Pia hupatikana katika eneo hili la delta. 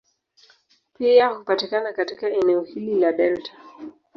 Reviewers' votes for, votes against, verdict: 2, 0, accepted